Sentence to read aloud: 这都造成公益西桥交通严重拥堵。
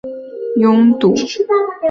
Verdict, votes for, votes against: rejected, 0, 2